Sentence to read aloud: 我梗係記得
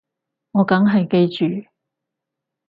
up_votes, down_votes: 0, 4